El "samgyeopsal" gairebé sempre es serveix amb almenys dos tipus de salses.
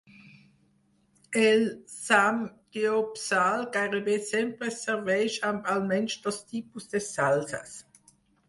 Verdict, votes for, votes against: rejected, 2, 4